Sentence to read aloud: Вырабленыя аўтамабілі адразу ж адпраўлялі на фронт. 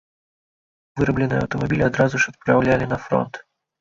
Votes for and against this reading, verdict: 0, 2, rejected